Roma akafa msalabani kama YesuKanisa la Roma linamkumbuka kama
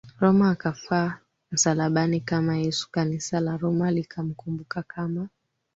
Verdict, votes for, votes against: rejected, 3, 4